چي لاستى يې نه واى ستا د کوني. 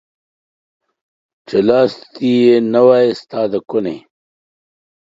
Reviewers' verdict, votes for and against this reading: rejected, 1, 3